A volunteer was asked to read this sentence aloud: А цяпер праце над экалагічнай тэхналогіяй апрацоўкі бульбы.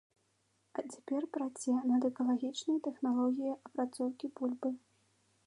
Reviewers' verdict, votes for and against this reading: accepted, 2, 1